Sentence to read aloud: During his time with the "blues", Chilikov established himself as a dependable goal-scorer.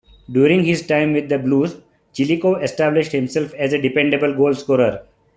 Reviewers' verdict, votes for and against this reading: accepted, 2, 0